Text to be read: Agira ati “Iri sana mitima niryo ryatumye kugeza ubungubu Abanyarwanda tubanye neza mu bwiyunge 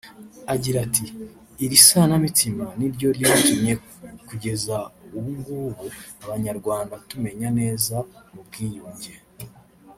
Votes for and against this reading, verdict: 0, 2, rejected